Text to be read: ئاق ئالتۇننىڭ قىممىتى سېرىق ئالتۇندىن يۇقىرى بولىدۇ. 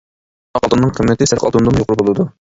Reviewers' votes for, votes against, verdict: 0, 2, rejected